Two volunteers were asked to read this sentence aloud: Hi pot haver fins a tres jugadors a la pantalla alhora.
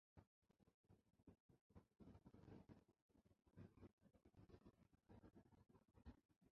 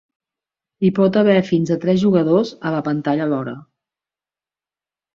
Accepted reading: second